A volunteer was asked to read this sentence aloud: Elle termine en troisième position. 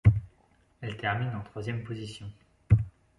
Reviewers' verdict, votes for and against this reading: accepted, 2, 1